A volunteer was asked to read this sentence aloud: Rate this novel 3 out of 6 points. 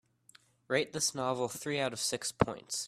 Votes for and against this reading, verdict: 0, 2, rejected